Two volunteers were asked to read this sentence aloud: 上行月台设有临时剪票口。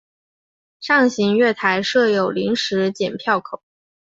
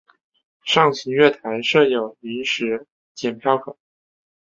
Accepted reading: first